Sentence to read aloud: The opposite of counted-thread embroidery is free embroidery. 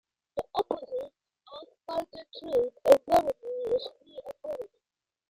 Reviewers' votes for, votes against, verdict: 0, 2, rejected